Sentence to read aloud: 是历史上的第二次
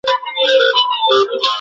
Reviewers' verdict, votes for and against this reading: rejected, 0, 2